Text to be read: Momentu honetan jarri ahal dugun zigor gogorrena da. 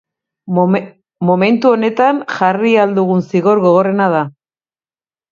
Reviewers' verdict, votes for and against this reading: rejected, 0, 3